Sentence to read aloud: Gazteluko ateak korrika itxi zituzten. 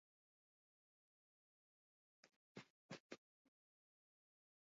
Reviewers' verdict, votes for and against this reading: rejected, 0, 14